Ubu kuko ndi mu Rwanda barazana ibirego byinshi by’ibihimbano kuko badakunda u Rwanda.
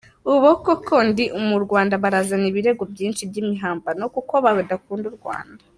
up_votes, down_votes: 1, 3